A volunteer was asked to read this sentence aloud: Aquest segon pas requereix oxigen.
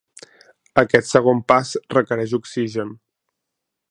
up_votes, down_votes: 2, 0